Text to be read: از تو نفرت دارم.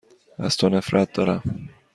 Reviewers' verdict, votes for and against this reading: accepted, 2, 0